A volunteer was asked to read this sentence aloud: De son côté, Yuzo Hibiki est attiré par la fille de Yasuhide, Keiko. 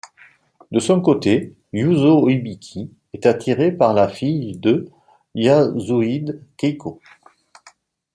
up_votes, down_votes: 1, 2